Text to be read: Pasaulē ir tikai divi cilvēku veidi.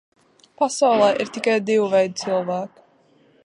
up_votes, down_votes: 0, 2